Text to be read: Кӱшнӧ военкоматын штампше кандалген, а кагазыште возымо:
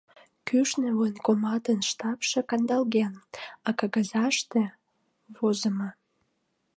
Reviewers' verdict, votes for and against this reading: accepted, 2, 0